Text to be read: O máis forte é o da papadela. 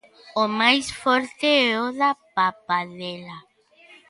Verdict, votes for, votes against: accepted, 2, 0